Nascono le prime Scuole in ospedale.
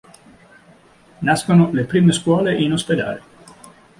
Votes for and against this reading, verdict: 2, 0, accepted